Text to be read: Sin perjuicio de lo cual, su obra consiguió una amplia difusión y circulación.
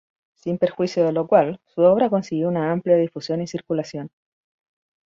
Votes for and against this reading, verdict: 4, 0, accepted